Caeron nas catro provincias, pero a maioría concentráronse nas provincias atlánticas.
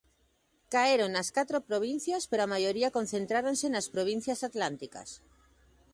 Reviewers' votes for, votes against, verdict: 3, 0, accepted